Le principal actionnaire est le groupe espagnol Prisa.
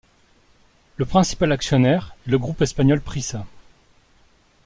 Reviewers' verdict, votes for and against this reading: rejected, 0, 2